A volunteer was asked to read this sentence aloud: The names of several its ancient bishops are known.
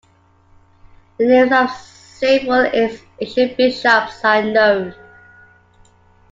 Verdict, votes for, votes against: rejected, 0, 2